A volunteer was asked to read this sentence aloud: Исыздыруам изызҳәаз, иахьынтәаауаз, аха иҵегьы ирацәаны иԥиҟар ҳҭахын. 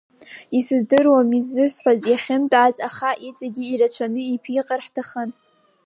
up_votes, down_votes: 5, 2